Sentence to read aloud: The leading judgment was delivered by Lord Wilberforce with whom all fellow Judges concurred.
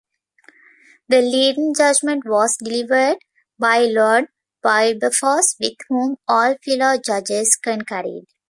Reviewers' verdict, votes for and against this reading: rejected, 1, 2